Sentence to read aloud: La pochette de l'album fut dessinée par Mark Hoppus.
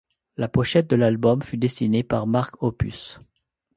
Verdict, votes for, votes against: accepted, 2, 0